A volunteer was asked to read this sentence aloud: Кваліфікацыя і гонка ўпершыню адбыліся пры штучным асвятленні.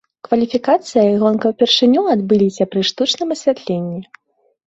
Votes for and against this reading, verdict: 2, 0, accepted